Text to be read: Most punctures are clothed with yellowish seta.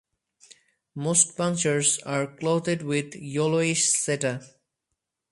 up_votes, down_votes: 2, 2